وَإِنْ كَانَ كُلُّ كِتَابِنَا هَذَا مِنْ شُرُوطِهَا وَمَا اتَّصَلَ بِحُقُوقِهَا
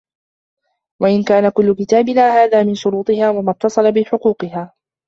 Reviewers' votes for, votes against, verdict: 1, 2, rejected